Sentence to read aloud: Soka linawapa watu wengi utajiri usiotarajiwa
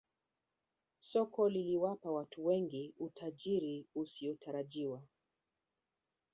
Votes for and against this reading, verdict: 0, 2, rejected